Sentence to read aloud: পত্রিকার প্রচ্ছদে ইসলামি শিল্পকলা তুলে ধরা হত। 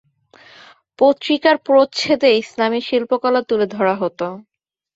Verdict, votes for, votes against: rejected, 1, 2